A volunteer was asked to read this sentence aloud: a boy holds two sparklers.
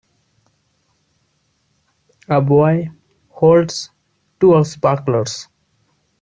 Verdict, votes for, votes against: accepted, 2, 0